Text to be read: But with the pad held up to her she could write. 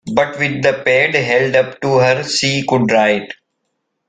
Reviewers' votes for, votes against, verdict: 0, 2, rejected